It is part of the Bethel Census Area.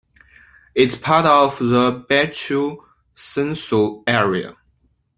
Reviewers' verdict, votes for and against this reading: accepted, 2, 1